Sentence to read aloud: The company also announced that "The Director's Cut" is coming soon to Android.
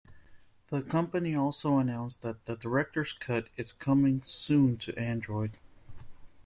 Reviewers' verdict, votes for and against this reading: accepted, 2, 0